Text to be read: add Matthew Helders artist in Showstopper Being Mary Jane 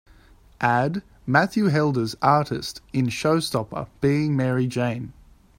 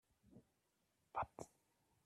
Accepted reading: first